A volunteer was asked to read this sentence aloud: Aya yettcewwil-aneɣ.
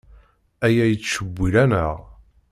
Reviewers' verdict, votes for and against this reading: accepted, 2, 0